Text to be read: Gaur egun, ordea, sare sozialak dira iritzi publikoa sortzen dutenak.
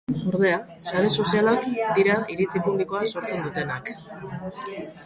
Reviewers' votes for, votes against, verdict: 0, 2, rejected